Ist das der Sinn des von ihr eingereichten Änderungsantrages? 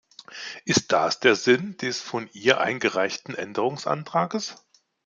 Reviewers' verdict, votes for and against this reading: accepted, 2, 0